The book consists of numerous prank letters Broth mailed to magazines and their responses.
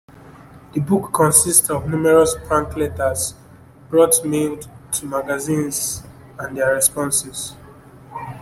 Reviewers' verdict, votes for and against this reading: accepted, 2, 1